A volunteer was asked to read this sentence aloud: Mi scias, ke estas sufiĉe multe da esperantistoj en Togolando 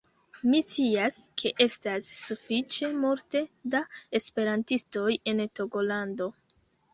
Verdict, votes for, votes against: rejected, 0, 2